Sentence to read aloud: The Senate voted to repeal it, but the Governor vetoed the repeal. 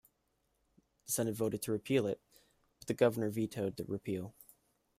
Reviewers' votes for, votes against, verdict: 2, 1, accepted